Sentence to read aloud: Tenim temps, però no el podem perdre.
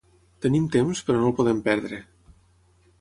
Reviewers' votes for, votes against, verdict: 6, 0, accepted